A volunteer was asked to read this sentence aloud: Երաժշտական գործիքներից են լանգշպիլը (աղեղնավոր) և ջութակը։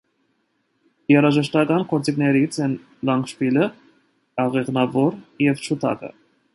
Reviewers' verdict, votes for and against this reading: accepted, 2, 0